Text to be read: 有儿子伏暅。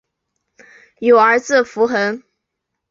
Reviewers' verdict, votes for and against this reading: accepted, 3, 0